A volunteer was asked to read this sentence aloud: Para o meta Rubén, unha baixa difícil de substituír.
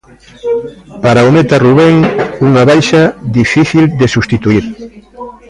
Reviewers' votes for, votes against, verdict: 1, 2, rejected